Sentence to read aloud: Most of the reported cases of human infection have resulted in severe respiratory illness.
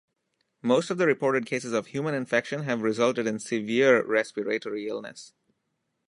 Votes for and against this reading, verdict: 2, 0, accepted